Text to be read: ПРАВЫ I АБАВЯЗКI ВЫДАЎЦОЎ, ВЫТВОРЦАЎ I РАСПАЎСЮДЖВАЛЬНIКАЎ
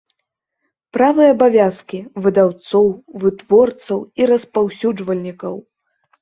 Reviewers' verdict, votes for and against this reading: rejected, 0, 2